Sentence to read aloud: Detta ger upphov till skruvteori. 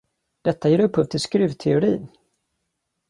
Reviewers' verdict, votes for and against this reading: accepted, 2, 0